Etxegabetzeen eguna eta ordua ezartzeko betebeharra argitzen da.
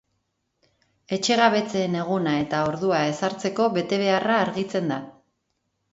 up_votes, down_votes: 2, 0